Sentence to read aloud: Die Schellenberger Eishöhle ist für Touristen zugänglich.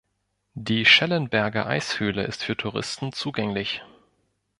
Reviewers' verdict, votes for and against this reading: accepted, 2, 0